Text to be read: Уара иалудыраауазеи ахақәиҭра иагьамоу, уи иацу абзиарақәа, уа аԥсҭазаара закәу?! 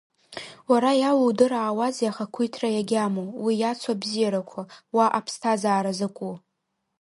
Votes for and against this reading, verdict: 2, 1, accepted